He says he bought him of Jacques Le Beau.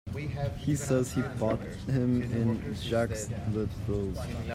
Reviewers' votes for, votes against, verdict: 0, 2, rejected